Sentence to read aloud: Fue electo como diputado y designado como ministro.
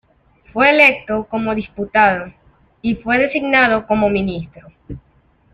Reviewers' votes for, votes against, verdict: 0, 2, rejected